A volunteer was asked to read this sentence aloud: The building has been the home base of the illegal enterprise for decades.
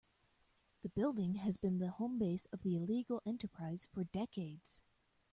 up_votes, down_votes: 2, 0